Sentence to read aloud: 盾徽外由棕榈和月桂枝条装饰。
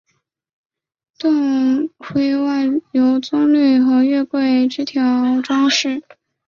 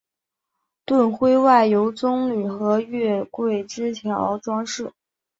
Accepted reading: second